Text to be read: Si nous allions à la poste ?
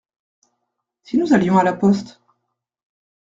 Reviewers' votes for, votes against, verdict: 2, 0, accepted